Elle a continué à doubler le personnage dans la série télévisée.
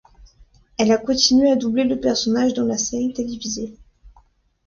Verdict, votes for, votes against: accepted, 2, 0